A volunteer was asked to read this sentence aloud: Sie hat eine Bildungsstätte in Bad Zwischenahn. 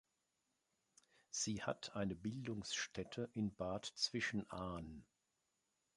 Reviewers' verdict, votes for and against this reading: accepted, 5, 1